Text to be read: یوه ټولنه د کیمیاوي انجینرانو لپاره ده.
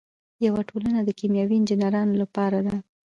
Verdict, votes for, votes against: accepted, 2, 1